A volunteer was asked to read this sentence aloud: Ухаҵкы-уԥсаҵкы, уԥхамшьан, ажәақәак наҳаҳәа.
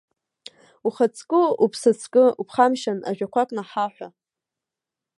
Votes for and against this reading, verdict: 2, 0, accepted